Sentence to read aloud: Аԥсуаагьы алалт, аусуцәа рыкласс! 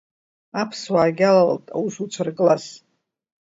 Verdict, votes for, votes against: rejected, 1, 2